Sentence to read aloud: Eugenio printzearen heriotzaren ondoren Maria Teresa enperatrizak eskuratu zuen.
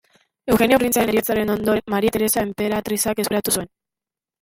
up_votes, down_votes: 0, 2